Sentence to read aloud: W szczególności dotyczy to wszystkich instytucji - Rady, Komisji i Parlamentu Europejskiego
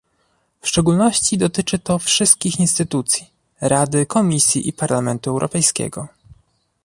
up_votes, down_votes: 2, 0